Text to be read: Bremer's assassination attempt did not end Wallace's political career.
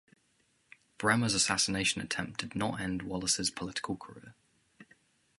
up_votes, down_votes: 2, 0